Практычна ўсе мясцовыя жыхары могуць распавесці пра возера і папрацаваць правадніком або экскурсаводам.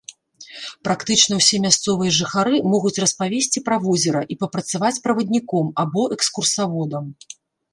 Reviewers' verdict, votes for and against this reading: accepted, 2, 0